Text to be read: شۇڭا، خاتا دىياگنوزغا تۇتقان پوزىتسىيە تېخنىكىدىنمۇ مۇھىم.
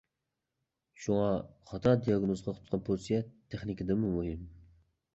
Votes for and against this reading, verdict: 1, 2, rejected